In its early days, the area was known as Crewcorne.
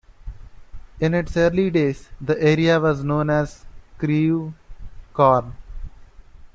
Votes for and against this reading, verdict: 2, 0, accepted